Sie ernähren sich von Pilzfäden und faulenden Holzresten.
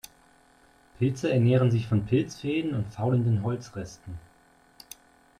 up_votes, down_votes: 1, 2